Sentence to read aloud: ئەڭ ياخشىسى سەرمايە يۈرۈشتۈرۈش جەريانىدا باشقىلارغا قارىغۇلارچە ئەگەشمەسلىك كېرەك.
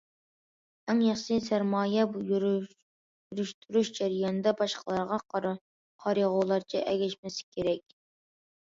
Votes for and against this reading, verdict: 0, 2, rejected